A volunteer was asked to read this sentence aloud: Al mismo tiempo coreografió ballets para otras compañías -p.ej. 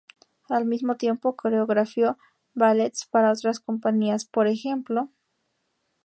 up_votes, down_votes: 0, 2